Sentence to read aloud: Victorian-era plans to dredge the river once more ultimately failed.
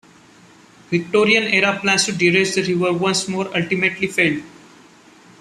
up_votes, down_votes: 0, 2